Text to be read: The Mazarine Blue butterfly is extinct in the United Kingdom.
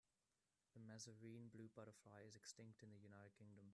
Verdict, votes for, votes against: rejected, 0, 2